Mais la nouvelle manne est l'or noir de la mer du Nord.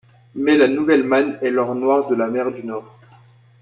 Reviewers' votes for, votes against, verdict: 1, 2, rejected